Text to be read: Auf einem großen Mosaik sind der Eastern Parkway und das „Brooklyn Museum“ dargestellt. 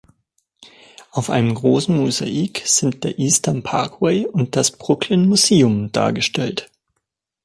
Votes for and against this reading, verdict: 2, 0, accepted